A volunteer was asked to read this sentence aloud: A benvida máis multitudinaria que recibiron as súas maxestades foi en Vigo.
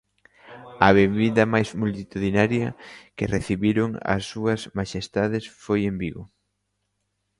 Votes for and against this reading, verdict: 2, 0, accepted